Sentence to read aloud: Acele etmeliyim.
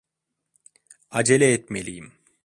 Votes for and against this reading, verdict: 2, 0, accepted